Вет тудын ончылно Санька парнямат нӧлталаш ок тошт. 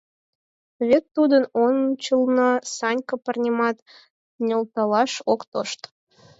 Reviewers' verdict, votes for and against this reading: accepted, 4, 0